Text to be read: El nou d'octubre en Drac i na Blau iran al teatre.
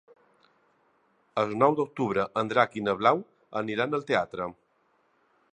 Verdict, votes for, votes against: rejected, 0, 2